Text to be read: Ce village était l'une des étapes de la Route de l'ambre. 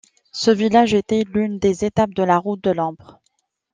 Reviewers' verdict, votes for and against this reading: accepted, 2, 0